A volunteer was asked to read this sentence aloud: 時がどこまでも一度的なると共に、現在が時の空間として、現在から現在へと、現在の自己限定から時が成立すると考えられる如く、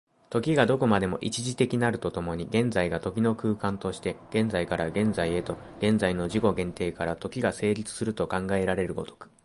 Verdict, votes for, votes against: accepted, 2, 1